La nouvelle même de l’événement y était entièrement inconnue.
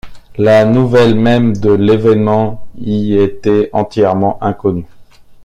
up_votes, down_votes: 2, 0